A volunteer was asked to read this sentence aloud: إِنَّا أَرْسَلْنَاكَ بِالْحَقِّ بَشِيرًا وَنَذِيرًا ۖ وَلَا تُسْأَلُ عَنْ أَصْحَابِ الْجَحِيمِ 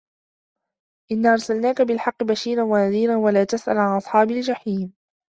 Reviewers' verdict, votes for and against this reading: accepted, 2, 0